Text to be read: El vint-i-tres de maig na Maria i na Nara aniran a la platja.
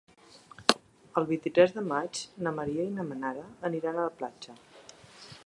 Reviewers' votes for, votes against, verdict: 0, 2, rejected